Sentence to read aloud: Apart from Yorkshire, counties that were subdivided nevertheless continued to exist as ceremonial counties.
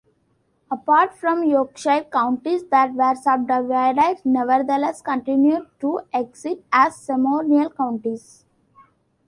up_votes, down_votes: 2, 0